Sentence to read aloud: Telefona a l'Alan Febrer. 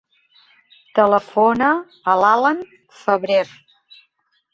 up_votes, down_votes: 0, 2